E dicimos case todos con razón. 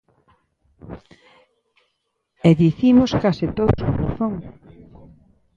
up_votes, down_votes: 0, 2